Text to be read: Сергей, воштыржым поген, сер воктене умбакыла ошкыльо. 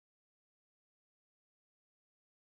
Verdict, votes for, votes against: rejected, 0, 2